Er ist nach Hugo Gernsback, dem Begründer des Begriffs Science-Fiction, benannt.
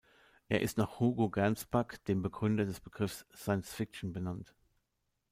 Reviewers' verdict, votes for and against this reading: accepted, 2, 0